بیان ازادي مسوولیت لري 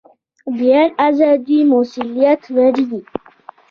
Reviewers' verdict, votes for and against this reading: accepted, 2, 0